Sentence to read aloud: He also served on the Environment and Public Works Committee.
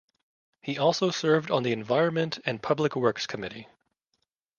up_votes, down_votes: 2, 1